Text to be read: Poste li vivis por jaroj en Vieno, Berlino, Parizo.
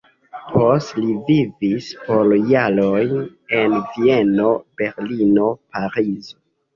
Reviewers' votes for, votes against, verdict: 0, 2, rejected